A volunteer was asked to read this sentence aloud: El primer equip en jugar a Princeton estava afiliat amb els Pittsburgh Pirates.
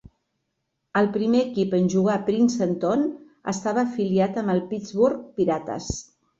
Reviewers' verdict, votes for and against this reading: rejected, 0, 2